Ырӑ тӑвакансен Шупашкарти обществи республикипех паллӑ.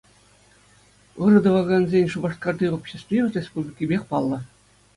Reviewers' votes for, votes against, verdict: 2, 0, accepted